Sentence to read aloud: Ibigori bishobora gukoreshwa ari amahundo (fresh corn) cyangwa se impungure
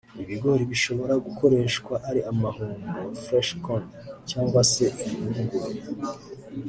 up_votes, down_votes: 2, 1